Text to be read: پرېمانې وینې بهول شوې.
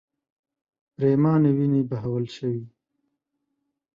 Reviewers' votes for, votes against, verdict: 2, 0, accepted